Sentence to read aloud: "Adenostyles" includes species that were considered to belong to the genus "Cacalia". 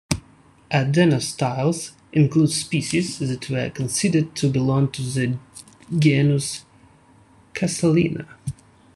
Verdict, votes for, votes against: rejected, 0, 2